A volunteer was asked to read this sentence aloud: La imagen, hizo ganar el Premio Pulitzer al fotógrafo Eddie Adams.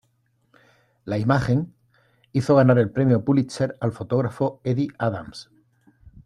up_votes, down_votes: 2, 0